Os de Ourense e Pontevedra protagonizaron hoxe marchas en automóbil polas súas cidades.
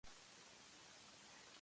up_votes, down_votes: 0, 2